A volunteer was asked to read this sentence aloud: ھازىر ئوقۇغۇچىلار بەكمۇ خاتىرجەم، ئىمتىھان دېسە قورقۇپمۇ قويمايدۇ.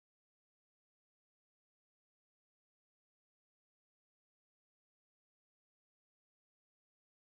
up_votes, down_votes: 0, 4